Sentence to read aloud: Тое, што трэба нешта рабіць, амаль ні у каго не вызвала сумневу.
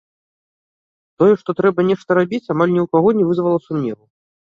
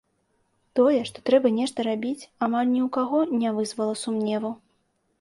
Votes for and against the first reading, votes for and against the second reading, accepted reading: 0, 2, 2, 0, second